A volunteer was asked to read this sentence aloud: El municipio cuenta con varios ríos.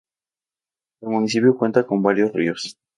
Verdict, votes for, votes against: accepted, 2, 0